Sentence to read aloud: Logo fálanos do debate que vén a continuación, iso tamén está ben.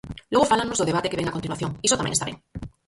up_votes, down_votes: 0, 4